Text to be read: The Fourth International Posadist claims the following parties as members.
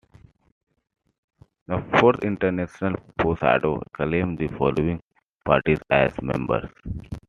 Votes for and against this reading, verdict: 2, 1, accepted